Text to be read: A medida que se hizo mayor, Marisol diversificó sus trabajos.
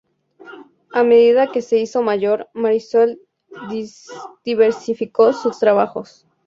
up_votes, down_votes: 0, 2